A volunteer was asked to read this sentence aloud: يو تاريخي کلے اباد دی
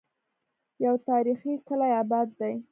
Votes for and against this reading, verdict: 2, 0, accepted